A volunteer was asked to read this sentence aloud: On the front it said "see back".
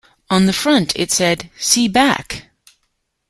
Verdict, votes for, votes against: accepted, 2, 0